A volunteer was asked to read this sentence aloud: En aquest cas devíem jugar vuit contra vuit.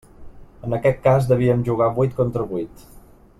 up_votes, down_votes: 3, 0